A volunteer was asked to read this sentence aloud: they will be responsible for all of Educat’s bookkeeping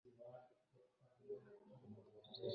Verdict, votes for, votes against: rejected, 0, 2